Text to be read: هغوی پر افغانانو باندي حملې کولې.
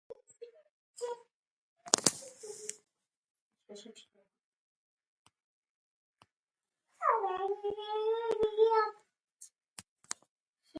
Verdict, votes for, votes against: rejected, 1, 2